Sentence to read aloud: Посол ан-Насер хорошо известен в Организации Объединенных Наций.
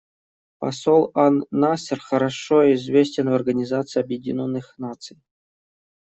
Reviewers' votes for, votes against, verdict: 2, 0, accepted